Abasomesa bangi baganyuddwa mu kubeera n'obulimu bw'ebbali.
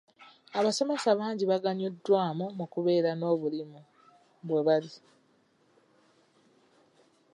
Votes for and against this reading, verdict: 1, 2, rejected